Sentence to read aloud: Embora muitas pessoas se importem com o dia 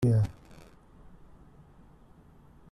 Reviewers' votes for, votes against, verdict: 0, 2, rejected